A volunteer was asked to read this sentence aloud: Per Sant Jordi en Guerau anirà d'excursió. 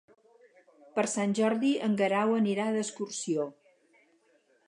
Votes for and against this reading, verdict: 6, 0, accepted